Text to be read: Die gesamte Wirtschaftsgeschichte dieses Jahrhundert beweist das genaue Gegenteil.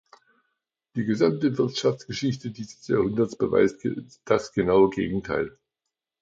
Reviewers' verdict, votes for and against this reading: rejected, 0, 2